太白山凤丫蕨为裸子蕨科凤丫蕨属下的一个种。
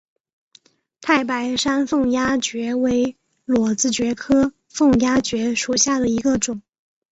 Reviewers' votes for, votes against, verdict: 3, 0, accepted